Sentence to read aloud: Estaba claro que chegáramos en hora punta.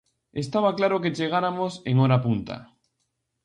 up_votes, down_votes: 2, 0